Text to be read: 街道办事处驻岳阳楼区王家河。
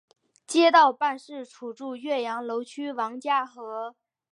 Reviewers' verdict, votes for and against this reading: accepted, 2, 0